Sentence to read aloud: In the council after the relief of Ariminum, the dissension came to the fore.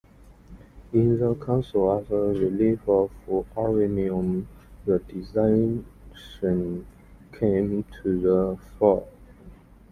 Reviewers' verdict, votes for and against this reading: accepted, 2, 1